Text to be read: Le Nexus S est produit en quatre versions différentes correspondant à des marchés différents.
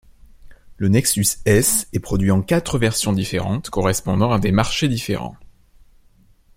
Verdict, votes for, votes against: accepted, 2, 0